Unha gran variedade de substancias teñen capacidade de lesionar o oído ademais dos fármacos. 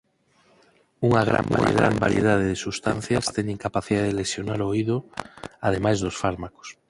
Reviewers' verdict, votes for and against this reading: rejected, 2, 4